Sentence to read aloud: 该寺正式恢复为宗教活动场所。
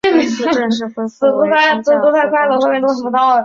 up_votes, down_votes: 1, 3